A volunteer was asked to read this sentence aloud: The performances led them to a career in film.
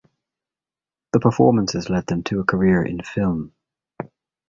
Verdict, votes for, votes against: accepted, 2, 0